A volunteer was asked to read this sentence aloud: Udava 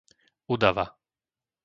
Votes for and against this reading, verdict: 2, 0, accepted